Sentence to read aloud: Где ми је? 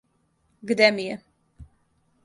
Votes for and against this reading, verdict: 2, 0, accepted